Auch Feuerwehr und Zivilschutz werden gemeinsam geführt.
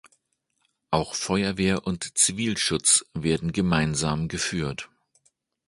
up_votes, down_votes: 2, 0